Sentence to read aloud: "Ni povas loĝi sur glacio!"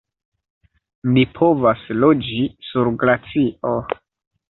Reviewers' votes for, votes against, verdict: 2, 0, accepted